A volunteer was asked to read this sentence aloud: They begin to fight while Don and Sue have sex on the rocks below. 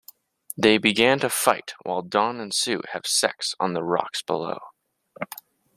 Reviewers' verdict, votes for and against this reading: rejected, 0, 2